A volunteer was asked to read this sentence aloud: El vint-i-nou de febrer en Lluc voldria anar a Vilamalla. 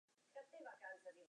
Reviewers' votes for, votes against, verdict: 0, 4, rejected